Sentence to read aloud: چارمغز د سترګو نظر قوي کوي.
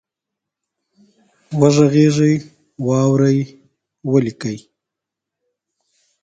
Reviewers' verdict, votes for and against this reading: rejected, 0, 2